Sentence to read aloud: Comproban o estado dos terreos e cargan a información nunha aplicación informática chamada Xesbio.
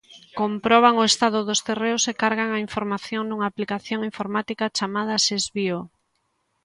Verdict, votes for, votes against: accepted, 2, 1